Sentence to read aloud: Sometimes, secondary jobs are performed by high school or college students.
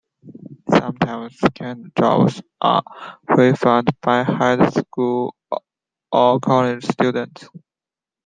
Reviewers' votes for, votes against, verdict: 2, 1, accepted